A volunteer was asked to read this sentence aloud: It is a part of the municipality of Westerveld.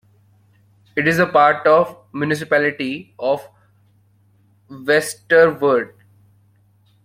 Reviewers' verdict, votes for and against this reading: accepted, 2, 0